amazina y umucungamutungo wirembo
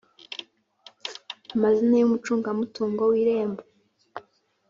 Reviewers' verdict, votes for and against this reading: accepted, 2, 0